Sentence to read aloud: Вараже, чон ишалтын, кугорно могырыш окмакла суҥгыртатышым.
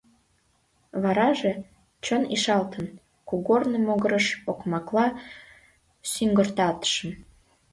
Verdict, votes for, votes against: rejected, 1, 2